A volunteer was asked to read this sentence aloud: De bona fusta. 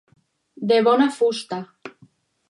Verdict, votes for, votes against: accepted, 4, 0